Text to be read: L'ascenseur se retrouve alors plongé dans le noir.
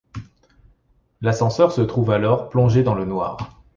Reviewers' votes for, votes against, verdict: 0, 2, rejected